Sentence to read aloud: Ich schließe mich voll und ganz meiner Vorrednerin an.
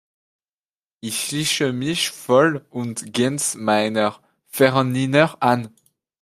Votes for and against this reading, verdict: 1, 2, rejected